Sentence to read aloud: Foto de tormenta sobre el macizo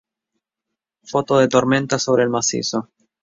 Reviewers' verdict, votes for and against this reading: rejected, 0, 2